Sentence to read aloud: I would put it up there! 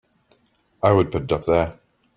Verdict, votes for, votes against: accepted, 3, 2